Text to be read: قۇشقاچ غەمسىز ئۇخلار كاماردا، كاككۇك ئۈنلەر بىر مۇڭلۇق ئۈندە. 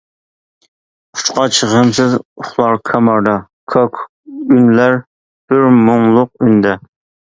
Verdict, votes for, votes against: rejected, 1, 2